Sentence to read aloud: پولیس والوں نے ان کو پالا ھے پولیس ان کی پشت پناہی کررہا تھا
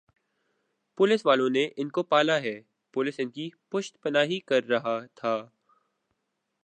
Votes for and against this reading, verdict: 2, 0, accepted